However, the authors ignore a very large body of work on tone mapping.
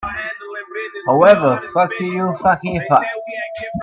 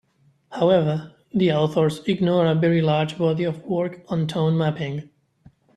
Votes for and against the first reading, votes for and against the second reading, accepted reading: 0, 2, 2, 0, second